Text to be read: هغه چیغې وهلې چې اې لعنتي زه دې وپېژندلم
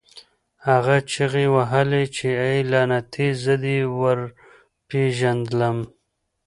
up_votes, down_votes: 1, 2